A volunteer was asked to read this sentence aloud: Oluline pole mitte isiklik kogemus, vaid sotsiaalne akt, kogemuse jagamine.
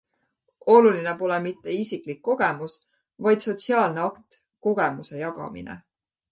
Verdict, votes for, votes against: accepted, 3, 0